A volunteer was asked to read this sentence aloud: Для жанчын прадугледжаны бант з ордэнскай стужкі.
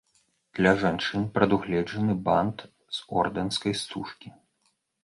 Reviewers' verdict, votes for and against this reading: accepted, 2, 0